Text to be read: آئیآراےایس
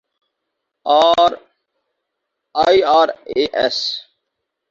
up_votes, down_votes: 0, 4